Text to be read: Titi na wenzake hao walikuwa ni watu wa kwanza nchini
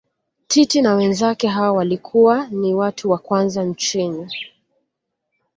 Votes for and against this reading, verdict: 2, 0, accepted